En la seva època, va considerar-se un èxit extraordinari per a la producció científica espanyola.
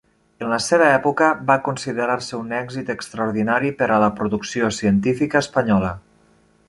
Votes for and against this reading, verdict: 0, 2, rejected